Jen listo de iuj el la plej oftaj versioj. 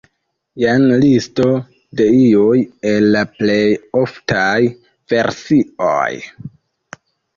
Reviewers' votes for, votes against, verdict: 2, 0, accepted